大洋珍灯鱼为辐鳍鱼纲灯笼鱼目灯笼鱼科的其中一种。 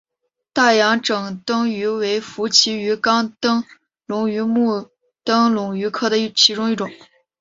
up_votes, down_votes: 1, 2